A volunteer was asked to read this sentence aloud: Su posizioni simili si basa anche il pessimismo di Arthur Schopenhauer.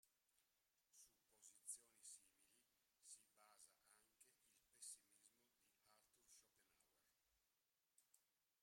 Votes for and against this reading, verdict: 0, 2, rejected